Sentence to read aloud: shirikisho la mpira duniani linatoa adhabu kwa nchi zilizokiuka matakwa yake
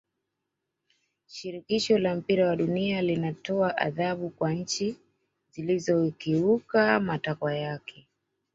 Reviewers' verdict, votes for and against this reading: rejected, 0, 2